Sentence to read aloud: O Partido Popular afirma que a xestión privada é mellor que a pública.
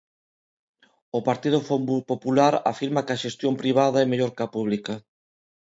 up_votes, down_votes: 0, 2